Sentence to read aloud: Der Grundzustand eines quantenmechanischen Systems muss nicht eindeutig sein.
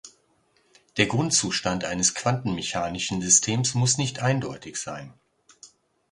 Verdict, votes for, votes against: accepted, 2, 0